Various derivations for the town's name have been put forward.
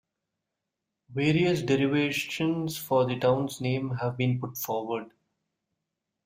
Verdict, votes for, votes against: rejected, 0, 2